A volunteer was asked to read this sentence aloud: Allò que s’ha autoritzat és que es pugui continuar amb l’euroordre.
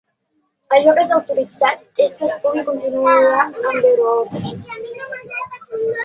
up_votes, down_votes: 0, 2